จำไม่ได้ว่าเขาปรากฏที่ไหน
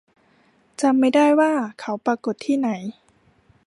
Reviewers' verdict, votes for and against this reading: accepted, 2, 0